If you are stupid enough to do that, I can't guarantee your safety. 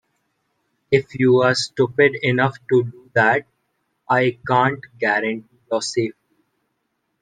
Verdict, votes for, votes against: rejected, 0, 2